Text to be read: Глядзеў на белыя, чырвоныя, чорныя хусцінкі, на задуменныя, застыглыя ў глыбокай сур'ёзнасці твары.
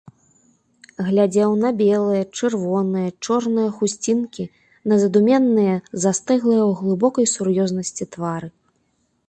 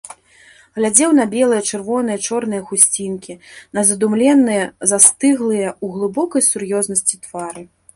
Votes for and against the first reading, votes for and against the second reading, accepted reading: 2, 0, 1, 2, first